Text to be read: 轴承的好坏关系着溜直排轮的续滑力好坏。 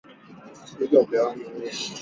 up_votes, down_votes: 1, 3